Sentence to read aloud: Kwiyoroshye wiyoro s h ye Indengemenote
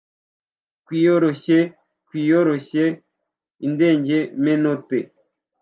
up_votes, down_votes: 1, 2